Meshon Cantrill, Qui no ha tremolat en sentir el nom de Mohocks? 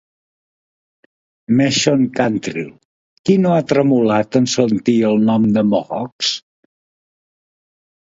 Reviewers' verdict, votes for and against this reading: accepted, 4, 0